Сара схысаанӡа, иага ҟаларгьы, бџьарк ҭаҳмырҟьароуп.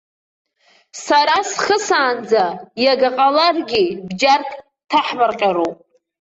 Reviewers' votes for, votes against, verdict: 0, 2, rejected